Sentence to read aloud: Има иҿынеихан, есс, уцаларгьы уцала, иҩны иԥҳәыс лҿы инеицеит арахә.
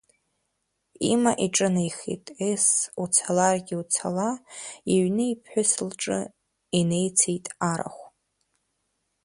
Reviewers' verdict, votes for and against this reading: rejected, 1, 2